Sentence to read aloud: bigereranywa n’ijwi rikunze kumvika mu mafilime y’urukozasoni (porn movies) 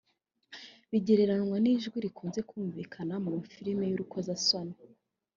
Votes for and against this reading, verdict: 1, 2, rejected